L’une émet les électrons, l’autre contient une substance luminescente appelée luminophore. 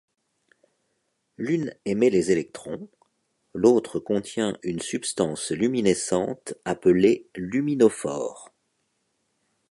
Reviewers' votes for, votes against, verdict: 3, 0, accepted